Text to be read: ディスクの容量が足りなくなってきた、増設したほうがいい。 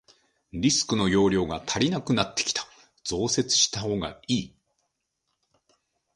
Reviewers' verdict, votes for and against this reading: rejected, 0, 2